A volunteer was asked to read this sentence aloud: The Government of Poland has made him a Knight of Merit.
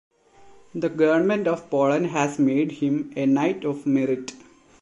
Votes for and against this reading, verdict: 0, 2, rejected